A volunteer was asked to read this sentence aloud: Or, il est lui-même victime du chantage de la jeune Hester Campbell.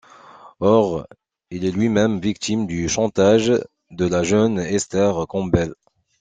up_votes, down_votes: 2, 0